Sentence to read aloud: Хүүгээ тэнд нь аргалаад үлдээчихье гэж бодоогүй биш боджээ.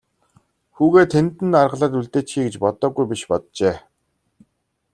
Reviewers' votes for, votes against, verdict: 2, 0, accepted